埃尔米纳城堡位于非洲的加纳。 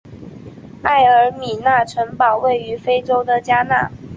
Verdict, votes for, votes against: accepted, 2, 0